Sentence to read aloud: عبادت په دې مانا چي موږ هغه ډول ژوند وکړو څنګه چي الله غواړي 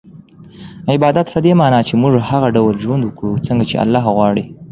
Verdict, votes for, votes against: accepted, 2, 0